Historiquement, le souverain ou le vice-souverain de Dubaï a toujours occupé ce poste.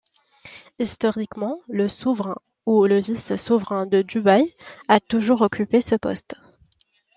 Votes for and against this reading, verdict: 2, 0, accepted